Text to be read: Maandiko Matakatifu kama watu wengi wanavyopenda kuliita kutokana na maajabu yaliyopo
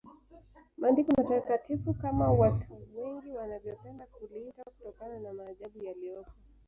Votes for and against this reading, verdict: 1, 2, rejected